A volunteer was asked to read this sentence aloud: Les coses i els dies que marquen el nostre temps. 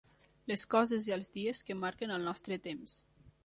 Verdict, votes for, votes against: accepted, 3, 0